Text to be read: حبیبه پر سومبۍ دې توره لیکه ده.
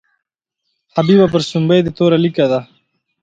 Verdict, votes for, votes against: accepted, 2, 0